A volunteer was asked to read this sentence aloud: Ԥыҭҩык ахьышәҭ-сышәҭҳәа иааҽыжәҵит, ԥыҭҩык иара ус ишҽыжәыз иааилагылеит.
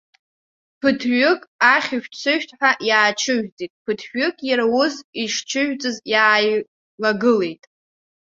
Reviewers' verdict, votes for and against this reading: rejected, 0, 2